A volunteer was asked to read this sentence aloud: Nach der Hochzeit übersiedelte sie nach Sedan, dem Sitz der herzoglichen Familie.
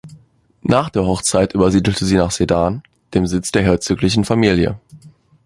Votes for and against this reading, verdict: 2, 1, accepted